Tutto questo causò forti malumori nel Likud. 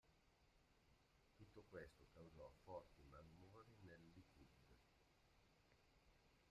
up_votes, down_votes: 0, 2